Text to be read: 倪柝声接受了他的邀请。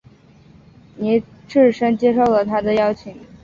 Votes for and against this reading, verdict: 2, 0, accepted